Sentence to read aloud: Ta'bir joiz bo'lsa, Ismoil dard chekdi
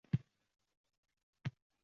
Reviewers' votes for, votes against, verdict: 0, 2, rejected